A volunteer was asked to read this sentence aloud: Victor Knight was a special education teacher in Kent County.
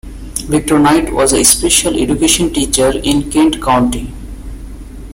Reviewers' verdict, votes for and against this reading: accepted, 2, 0